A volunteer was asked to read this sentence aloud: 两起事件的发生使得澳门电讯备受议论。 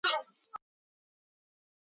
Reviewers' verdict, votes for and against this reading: rejected, 0, 2